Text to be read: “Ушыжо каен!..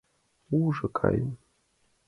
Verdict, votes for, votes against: accepted, 2, 1